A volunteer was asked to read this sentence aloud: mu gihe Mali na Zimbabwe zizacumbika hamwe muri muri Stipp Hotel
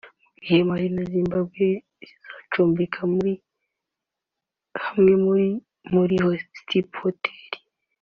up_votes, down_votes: 0, 2